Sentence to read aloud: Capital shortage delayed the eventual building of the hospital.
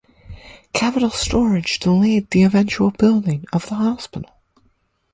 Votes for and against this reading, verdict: 0, 4, rejected